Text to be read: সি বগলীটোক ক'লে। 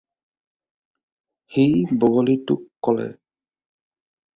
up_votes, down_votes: 2, 0